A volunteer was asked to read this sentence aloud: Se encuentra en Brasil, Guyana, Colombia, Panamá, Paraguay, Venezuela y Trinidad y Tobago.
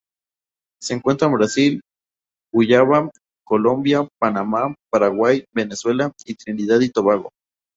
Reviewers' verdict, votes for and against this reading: rejected, 0, 2